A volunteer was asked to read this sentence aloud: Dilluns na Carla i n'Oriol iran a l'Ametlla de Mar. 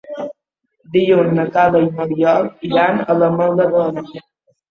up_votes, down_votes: 0, 2